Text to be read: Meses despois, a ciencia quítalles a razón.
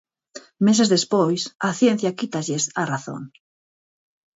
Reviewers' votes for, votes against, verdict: 4, 0, accepted